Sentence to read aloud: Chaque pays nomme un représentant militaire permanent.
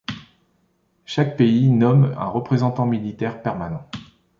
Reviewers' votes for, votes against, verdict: 2, 0, accepted